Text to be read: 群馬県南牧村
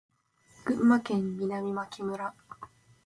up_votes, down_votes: 10, 3